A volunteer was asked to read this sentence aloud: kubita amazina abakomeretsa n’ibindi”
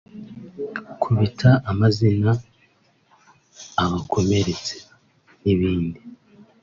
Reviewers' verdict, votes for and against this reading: rejected, 1, 2